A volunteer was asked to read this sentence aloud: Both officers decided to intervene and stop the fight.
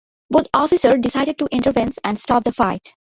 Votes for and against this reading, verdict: 0, 2, rejected